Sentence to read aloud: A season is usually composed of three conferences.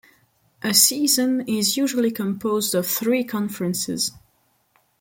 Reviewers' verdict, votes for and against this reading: accepted, 2, 0